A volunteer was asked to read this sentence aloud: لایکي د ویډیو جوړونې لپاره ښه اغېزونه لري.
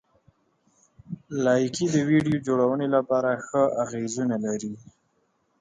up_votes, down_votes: 4, 0